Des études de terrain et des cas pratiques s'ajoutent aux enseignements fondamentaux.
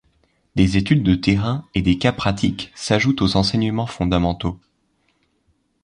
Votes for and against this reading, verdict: 2, 0, accepted